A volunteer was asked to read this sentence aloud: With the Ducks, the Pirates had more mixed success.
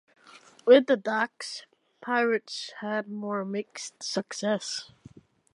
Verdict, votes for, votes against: rejected, 0, 2